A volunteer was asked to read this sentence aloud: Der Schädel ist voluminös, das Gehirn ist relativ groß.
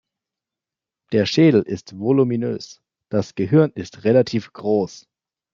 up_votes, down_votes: 2, 0